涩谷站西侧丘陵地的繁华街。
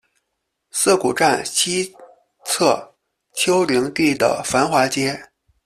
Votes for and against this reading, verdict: 1, 2, rejected